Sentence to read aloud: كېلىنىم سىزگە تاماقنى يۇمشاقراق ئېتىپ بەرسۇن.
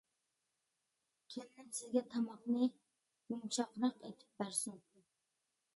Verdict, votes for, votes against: rejected, 0, 2